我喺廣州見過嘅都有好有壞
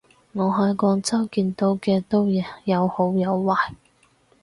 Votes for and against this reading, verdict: 0, 4, rejected